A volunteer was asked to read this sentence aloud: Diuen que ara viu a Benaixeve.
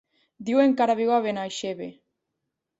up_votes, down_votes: 0, 2